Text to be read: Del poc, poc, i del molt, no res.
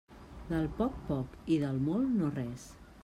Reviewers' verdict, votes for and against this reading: accepted, 3, 0